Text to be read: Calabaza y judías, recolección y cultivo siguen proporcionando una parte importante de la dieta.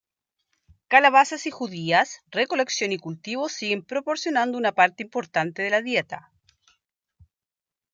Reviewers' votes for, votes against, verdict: 2, 0, accepted